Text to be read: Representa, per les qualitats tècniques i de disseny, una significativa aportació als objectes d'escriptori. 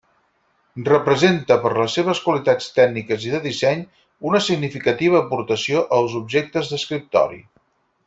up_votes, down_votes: 0, 4